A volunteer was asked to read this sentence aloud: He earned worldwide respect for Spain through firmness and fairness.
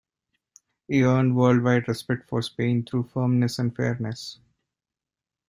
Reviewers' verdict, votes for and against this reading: accepted, 2, 0